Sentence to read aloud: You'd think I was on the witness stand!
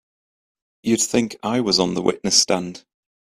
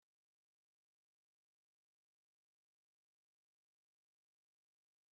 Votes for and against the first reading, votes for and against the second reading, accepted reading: 2, 1, 0, 2, first